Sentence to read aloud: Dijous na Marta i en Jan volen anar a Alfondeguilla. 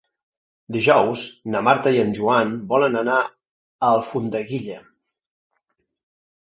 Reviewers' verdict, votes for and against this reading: rejected, 0, 2